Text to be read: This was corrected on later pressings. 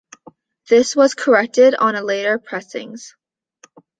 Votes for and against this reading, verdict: 1, 2, rejected